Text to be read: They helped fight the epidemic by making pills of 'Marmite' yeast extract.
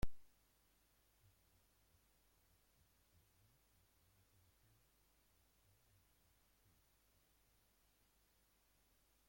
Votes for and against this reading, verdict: 0, 2, rejected